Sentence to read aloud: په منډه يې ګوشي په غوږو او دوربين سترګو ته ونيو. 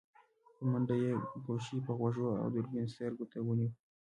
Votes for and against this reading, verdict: 1, 2, rejected